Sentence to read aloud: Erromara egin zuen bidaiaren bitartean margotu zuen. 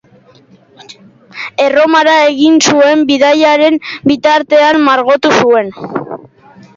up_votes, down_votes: 3, 1